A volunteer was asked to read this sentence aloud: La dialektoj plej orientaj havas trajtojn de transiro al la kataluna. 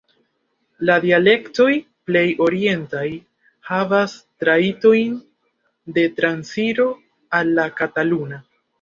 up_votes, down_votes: 1, 2